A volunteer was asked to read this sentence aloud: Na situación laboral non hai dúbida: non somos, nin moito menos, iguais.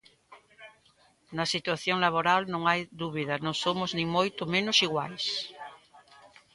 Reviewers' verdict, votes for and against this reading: rejected, 1, 2